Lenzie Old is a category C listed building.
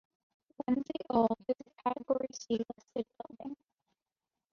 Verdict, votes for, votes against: rejected, 1, 2